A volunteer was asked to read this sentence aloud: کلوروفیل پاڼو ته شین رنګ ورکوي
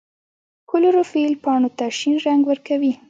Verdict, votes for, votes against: accepted, 2, 0